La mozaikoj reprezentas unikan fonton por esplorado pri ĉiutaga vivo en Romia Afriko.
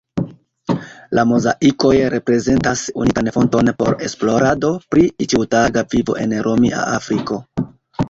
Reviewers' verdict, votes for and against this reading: rejected, 1, 2